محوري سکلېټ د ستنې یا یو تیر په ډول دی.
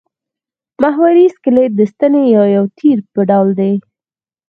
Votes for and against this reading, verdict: 2, 4, rejected